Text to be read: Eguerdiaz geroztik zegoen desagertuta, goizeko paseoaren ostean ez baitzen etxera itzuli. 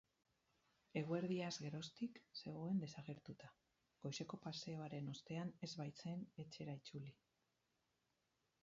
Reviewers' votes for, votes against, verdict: 2, 4, rejected